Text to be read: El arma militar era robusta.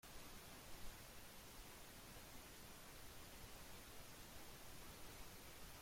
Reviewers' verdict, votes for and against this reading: rejected, 0, 2